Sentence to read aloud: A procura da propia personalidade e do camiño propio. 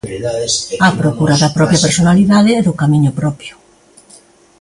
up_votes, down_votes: 2, 0